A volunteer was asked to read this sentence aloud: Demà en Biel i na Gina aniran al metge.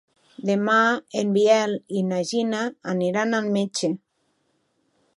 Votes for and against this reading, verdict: 5, 0, accepted